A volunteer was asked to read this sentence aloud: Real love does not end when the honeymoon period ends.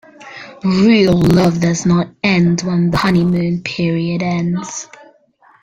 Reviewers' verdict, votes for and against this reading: rejected, 0, 2